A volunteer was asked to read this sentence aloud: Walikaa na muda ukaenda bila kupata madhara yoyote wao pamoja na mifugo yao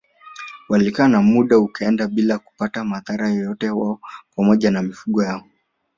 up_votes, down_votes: 2, 1